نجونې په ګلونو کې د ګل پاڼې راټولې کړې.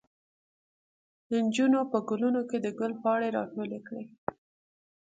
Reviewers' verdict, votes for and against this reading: rejected, 0, 2